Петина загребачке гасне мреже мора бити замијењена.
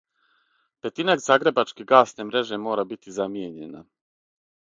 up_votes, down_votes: 6, 0